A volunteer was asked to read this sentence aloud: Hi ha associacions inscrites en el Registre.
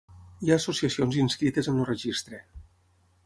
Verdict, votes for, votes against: accepted, 6, 0